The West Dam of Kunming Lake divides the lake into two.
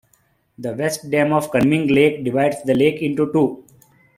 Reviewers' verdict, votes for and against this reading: accepted, 2, 0